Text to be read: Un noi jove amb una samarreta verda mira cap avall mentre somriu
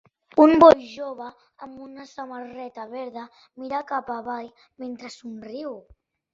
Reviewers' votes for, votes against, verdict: 2, 1, accepted